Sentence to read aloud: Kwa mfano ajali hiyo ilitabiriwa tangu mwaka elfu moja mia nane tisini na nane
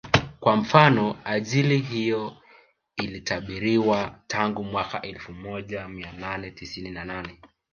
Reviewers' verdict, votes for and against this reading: accepted, 5, 0